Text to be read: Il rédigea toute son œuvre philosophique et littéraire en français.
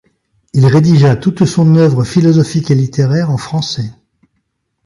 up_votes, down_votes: 3, 0